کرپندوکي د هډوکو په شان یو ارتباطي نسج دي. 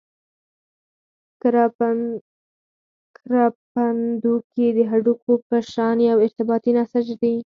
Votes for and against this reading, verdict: 0, 4, rejected